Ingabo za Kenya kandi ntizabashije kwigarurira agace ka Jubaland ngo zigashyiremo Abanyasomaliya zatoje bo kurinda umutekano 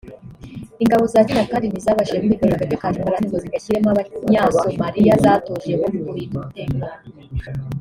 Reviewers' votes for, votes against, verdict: 1, 2, rejected